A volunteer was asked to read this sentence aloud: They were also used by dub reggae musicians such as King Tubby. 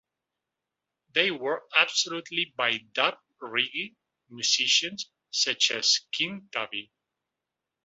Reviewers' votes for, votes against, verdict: 0, 2, rejected